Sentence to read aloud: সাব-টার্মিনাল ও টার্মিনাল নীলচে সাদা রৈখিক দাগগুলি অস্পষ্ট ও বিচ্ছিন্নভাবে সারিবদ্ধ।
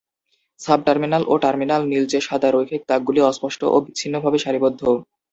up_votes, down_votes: 2, 0